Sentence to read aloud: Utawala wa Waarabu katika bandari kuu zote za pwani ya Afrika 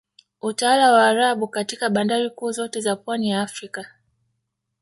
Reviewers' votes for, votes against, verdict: 2, 0, accepted